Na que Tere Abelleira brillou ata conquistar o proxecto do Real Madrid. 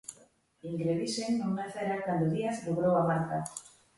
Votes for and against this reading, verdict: 0, 2, rejected